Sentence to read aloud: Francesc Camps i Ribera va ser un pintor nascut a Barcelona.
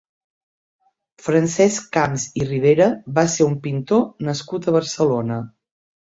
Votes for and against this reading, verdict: 4, 0, accepted